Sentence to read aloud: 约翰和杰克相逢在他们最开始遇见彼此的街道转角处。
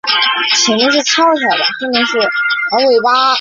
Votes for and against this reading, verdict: 1, 2, rejected